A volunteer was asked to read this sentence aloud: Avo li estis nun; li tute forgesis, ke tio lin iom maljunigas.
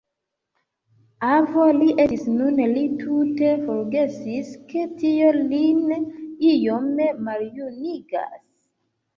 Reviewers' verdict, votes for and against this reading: accepted, 2, 0